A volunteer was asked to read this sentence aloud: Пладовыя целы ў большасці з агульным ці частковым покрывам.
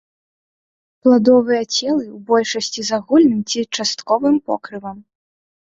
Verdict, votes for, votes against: accepted, 2, 1